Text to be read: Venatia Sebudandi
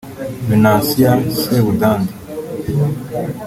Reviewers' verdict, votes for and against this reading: rejected, 1, 2